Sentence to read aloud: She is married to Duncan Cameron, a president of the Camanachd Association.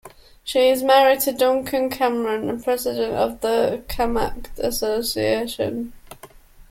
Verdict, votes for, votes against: rejected, 0, 2